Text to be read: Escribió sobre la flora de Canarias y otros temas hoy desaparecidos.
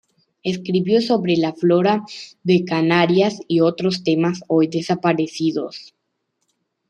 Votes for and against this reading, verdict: 2, 0, accepted